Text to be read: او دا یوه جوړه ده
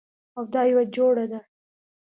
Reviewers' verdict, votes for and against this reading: accepted, 2, 0